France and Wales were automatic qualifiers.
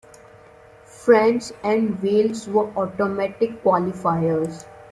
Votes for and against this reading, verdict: 2, 0, accepted